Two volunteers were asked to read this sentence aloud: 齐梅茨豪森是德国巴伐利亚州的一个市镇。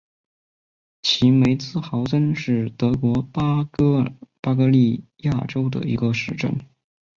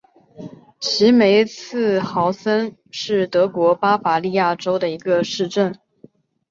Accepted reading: second